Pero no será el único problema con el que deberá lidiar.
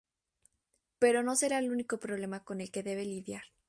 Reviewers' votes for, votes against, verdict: 0, 2, rejected